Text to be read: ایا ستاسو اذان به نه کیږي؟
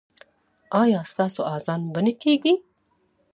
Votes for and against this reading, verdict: 2, 0, accepted